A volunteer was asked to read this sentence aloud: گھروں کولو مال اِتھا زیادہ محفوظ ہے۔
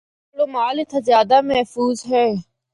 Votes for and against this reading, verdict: 0, 2, rejected